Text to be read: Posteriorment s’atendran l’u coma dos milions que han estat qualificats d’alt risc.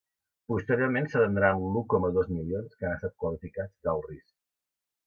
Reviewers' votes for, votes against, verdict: 3, 0, accepted